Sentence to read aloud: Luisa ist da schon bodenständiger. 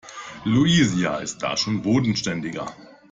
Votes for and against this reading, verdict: 0, 2, rejected